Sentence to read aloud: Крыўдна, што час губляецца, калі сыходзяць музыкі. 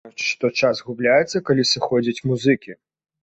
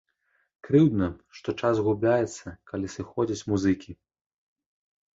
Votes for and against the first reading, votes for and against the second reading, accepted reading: 0, 2, 2, 1, second